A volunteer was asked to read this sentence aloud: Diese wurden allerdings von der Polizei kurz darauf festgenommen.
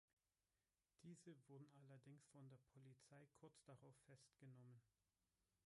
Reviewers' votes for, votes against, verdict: 1, 3, rejected